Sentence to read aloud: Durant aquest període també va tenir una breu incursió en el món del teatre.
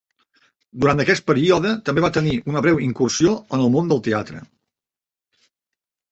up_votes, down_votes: 1, 2